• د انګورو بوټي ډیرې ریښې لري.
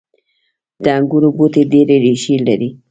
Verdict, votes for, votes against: accepted, 2, 0